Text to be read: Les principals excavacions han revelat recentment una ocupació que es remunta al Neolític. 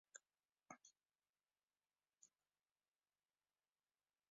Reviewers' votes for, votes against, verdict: 0, 2, rejected